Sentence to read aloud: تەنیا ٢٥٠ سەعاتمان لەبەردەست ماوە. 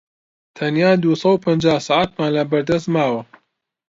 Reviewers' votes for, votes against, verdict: 0, 2, rejected